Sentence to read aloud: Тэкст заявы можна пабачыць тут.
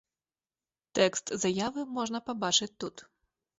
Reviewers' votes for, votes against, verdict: 2, 0, accepted